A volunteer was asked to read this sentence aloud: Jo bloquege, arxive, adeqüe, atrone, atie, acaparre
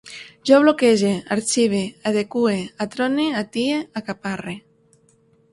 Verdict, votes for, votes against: accepted, 3, 0